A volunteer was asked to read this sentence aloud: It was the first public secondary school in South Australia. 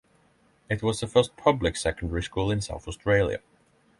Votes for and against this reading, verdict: 12, 0, accepted